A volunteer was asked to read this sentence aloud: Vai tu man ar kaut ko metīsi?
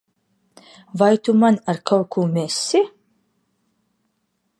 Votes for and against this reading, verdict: 1, 2, rejected